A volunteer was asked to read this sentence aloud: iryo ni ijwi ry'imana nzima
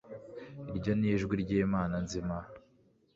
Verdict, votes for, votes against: accepted, 2, 0